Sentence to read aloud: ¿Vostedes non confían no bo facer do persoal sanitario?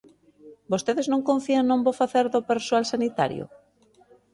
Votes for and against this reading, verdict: 0, 2, rejected